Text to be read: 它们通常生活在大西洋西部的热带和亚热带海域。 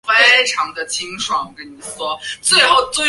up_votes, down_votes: 0, 2